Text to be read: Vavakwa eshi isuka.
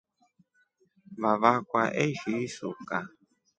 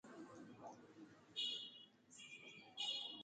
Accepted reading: first